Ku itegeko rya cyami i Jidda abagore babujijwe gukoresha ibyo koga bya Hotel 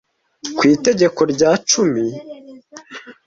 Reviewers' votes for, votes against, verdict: 0, 2, rejected